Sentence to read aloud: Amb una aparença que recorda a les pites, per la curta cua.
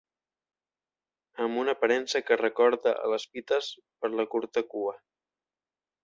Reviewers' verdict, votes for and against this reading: accepted, 2, 0